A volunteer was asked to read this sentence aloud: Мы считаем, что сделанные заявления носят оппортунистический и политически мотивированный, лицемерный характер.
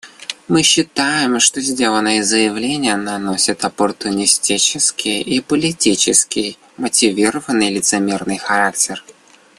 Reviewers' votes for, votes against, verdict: 0, 2, rejected